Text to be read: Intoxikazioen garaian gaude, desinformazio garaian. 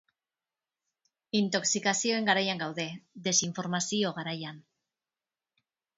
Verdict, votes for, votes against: rejected, 3, 6